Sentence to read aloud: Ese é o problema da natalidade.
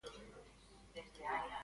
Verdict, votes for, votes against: rejected, 0, 2